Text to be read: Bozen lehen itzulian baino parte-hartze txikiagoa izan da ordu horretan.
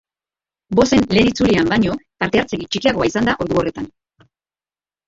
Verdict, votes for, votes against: rejected, 1, 2